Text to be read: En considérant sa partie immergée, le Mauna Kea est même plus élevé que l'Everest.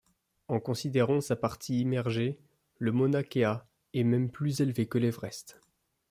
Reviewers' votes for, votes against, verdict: 2, 1, accepted